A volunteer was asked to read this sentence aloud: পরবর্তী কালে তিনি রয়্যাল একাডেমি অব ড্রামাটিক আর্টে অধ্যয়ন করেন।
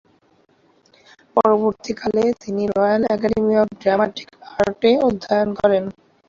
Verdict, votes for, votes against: rejected, 0, 2